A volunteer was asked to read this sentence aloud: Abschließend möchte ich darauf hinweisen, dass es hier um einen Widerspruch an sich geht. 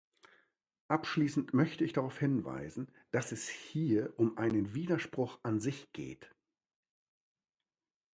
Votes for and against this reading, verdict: 2, 0, accepted